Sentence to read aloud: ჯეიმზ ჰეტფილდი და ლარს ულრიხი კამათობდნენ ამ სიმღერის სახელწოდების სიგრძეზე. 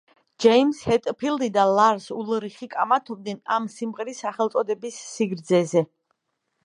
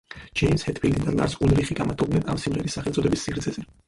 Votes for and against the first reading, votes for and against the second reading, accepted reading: 2, 0, 0, 4, first